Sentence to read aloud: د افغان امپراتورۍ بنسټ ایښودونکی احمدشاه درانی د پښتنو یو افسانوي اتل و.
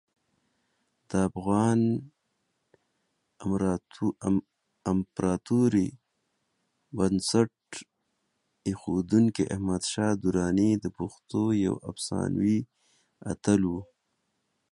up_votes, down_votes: 0, 2